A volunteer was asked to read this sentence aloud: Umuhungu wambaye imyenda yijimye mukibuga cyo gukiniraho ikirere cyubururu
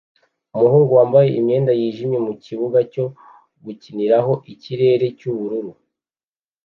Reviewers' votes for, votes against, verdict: 2, 0, accepted